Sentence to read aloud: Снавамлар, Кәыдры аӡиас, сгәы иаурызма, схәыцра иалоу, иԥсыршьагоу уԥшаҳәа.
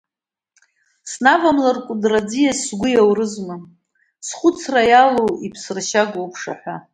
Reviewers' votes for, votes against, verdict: 2, 0, accepted